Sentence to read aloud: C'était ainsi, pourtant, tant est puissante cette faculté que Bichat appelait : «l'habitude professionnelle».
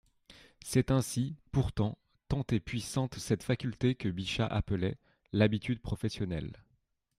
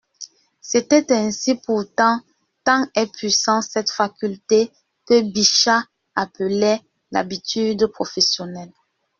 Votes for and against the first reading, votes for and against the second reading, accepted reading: 2, 0, 0, 2, first